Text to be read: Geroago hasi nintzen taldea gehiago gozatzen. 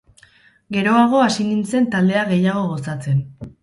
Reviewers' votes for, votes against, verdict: 0, 2, rejected